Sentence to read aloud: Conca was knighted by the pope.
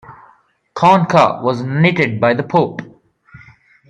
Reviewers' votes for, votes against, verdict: 0, 2, rejected